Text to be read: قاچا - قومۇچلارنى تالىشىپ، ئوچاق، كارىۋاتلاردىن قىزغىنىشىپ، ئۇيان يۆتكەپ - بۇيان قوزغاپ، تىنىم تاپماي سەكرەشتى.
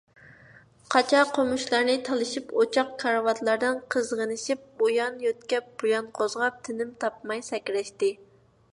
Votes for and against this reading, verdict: 2, 0, accepted